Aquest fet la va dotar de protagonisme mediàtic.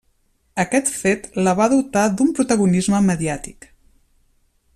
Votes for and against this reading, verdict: 0, 2, rejected